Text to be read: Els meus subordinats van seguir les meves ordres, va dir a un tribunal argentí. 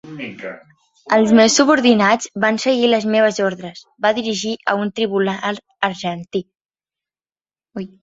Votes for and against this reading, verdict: 0, 2, rejected